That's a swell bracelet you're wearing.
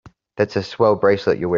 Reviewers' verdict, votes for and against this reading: rejected, 0, 2